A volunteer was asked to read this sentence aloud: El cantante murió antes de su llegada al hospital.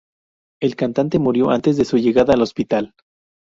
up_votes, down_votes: 0, 2